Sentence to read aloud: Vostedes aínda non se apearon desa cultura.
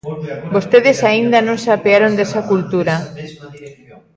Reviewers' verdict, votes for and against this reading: rejected, 0, 2